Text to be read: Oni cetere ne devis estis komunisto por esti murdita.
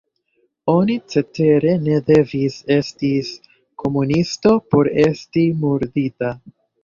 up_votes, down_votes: 1, 2